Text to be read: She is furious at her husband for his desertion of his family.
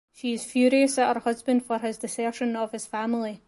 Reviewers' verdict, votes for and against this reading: accepted, 2, 1